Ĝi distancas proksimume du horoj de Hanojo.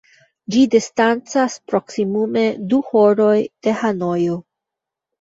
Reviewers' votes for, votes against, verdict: 0, 2, rejected